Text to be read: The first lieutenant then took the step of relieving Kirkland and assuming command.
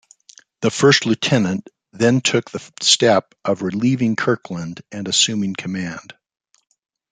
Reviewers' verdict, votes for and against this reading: accepted, 2, 0